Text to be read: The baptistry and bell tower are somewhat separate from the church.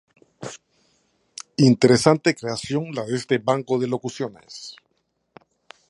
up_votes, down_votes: 0, 2